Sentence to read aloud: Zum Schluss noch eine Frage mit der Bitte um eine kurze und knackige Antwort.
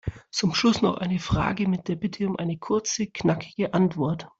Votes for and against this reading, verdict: 1, 2, rejected